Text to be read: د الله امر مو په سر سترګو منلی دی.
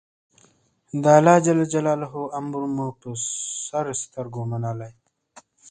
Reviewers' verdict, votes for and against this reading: rejected, 2, 3